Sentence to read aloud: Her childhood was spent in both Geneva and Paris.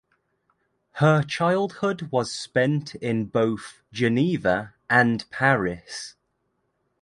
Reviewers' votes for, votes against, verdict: 2, 0, accepted